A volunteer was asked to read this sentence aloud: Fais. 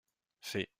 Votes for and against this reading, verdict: 2, 0, accepted